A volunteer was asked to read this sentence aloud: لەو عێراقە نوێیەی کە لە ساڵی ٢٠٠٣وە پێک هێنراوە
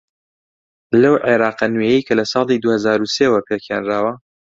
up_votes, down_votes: 0, 2